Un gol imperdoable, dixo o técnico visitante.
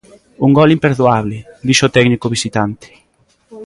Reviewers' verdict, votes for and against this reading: accepted, 2, 0